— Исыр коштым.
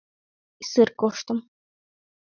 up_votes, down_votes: 3, 2